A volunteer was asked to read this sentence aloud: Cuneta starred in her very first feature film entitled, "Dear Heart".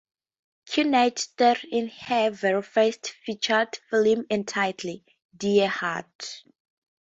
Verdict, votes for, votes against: rejected, 2, 2